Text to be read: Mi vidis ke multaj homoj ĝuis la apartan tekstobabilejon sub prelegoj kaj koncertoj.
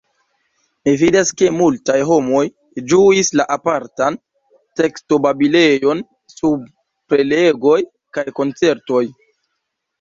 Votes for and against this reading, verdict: 1, 2, rejected